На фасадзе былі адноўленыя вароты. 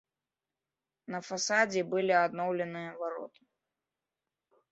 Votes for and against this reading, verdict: 1, 2, rejected